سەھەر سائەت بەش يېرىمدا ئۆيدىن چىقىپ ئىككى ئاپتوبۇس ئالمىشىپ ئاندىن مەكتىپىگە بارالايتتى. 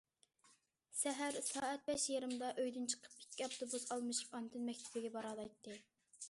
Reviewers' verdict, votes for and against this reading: accepted, 2, 0